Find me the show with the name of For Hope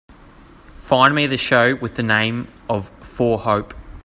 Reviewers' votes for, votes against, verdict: 3, 0, accepted